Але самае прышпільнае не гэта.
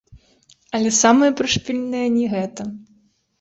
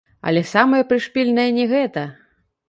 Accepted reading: first